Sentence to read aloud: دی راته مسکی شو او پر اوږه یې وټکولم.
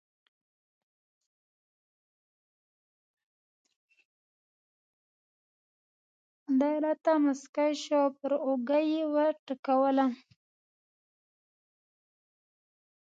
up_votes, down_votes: 1, 3